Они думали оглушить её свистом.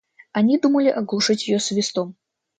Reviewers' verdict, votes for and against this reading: rejected, 1, 2